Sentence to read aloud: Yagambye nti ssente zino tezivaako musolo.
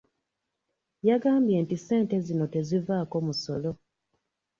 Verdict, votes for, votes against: accepted, 2, 0